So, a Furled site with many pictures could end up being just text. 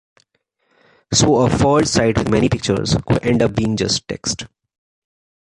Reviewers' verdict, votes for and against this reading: rejected, 0, 2